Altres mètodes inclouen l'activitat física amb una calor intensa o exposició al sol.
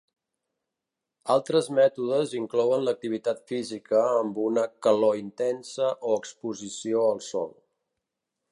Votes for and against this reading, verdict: 3, 0, accepted